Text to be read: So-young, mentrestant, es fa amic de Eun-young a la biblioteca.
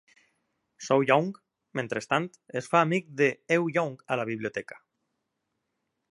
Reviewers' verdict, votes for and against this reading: accepted, 2, 1